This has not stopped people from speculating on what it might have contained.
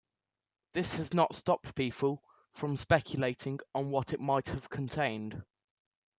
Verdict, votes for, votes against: accepted, 2, 0